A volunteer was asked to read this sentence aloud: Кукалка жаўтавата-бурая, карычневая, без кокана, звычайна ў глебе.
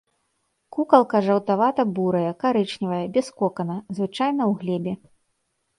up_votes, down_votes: 2, 3